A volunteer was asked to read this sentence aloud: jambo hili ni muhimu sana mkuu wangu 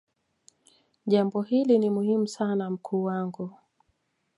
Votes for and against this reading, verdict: 2, 1, accepted